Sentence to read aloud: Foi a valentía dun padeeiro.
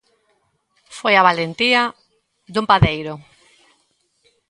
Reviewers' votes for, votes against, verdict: 1, 2, rejected